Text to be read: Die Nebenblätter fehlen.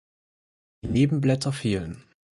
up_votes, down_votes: 0, 4